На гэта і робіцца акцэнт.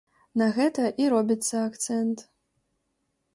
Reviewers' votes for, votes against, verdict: 2, 0, accepted